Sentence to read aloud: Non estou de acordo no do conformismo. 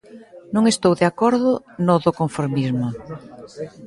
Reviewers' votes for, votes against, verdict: 2, 1, accepted